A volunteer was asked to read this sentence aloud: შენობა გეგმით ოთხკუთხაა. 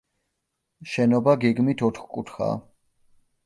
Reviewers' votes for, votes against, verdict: 2, 0, accepted